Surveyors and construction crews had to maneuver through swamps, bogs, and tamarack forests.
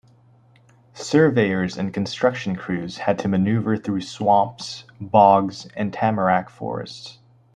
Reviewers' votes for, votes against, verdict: 0, 2, rejected